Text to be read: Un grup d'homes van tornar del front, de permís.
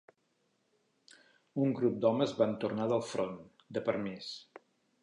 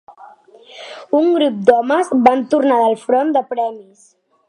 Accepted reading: first